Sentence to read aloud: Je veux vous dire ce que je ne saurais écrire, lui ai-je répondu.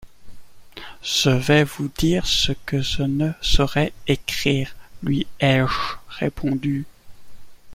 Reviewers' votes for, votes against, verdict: 1, 2, rejected